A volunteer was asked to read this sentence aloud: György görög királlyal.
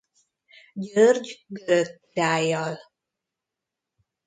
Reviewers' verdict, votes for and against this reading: rejected, 0, 2